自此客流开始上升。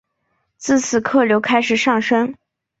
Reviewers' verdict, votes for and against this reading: accepted, 3, 1